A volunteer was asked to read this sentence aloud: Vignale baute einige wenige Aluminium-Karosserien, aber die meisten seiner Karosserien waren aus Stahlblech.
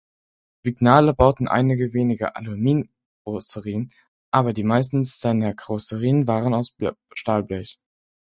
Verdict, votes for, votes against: rejected, 0, 4